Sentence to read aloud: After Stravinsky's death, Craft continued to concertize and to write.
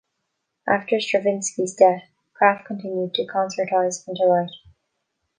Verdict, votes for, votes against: accepted, 2, 0